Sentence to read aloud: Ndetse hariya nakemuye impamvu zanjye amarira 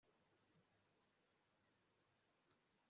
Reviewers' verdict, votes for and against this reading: rejected, 1, 2